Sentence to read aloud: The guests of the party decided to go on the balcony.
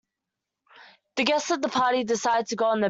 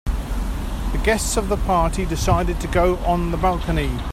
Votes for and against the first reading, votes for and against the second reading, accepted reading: 0, 2, 2, 0, second